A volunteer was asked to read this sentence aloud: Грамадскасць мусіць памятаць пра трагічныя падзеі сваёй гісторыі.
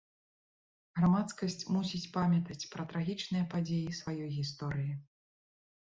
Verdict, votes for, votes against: accepted, 3, 0